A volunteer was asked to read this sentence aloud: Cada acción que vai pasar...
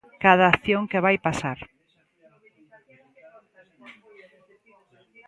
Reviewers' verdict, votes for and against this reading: accepted, 2, 0